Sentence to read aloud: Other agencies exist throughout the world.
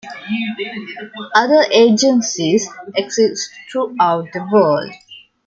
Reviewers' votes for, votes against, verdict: 1, 2, rejected